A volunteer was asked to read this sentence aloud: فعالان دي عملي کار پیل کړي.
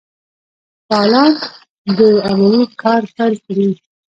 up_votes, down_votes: 0, 2